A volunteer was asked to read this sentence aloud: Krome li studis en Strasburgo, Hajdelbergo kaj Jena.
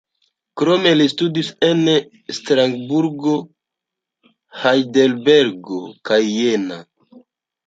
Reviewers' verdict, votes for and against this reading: rejected, 1, 2